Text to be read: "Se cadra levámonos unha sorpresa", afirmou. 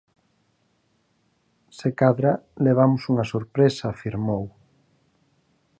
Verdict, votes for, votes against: rejected, 0, 4